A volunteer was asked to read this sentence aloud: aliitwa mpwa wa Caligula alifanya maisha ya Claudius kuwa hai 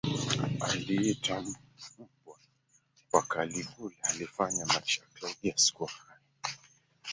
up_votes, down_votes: 0, 4